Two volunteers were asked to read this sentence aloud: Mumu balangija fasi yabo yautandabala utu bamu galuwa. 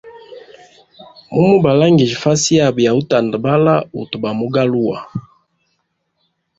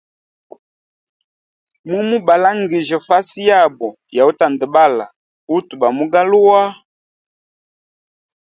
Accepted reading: second